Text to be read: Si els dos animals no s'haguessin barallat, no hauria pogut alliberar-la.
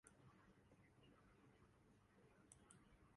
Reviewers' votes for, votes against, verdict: 0, 2, rejected